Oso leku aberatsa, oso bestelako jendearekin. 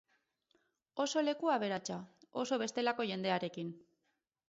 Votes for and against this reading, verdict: 8, 0, accepted